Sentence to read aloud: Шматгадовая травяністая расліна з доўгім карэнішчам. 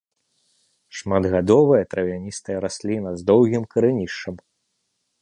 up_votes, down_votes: 0, 2